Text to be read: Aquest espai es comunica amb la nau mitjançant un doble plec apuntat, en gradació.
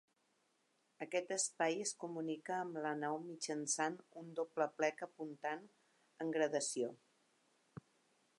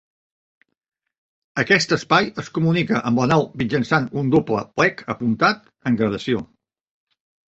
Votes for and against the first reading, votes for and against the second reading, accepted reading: 2, 3, 2, 0, second